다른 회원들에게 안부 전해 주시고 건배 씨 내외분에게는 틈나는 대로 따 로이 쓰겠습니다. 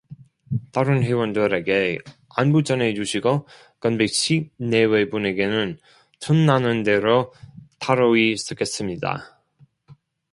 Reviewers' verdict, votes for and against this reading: accepted, 2, 0